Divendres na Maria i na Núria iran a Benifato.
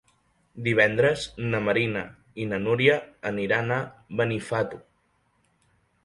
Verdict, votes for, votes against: rejected, 0, 2